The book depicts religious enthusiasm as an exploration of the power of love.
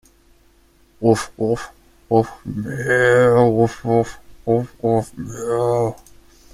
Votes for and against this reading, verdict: 0, 2, rejected